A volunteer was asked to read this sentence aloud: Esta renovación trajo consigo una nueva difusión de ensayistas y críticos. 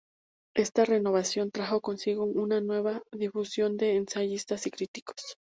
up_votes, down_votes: 2, 0